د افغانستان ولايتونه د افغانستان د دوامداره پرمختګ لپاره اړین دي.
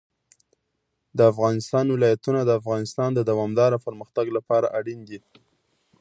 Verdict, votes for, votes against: accepted, 2, 0